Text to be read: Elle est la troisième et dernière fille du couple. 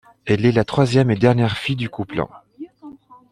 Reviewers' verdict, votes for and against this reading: accepted, 2, 0